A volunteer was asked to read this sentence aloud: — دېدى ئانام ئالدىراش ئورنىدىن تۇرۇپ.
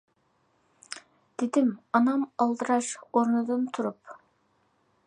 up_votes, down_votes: 2, 0